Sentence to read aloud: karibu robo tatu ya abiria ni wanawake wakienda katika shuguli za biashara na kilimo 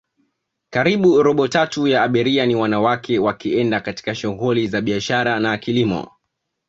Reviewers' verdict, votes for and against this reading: accepted, 2, 0